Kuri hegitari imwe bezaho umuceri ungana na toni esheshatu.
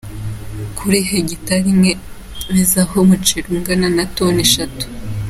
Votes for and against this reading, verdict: 2, 1, accepted